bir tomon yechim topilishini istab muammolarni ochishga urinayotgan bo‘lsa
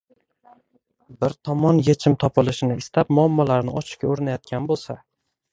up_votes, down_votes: 1, 2